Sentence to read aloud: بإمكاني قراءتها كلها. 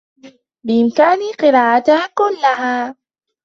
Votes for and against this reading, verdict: 0, 2, rejected